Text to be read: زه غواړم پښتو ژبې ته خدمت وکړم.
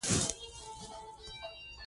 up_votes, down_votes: 1, 2